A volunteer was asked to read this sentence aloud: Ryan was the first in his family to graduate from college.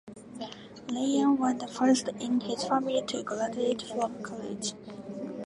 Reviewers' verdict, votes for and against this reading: accepted, 2, 0